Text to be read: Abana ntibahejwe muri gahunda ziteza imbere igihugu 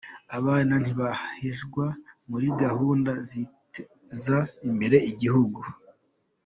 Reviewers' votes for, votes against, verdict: 2, 1, accepted